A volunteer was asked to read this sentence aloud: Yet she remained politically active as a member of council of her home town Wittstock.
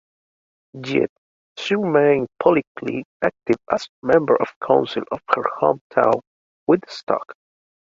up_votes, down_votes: 1, 2